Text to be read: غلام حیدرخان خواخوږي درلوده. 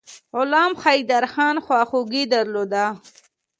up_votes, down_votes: 2, 0